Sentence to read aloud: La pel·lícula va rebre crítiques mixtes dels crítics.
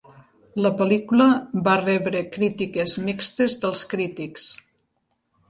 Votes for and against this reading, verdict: 2, 0, accepted